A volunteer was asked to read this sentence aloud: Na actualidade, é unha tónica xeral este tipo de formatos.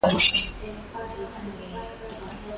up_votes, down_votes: 0, 2